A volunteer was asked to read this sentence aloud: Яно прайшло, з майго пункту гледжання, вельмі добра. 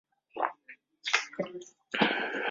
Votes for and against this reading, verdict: 0, 3, rejected